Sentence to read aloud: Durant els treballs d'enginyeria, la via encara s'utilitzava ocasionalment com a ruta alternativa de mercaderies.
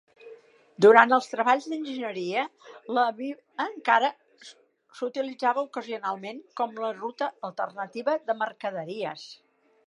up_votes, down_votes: 0, 2